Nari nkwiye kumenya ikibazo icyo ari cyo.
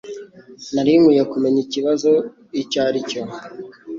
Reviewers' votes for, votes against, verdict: 3, 0, accepted